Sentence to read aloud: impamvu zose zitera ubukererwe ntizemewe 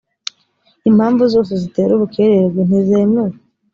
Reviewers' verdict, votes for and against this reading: accepted, 2, 0